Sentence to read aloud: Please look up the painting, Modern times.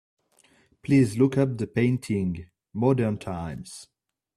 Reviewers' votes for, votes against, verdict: 2, 0, accepted